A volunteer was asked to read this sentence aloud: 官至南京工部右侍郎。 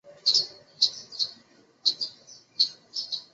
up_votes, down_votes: 0, 2